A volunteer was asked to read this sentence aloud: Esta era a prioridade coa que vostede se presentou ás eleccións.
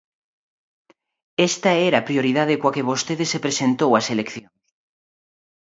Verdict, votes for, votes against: rejected, 0, 2